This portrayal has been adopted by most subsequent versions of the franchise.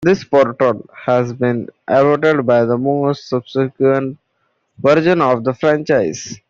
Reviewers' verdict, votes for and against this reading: rejected, 1, 2